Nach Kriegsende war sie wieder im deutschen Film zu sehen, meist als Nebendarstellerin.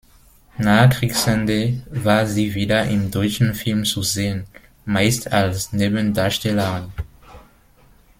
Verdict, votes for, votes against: rejected, 0, 2